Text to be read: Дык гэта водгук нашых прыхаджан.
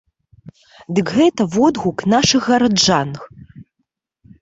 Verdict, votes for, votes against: rejected, 0, 2